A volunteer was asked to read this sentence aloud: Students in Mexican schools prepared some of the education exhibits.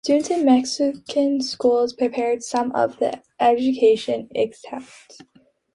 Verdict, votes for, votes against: rejected, 0, 2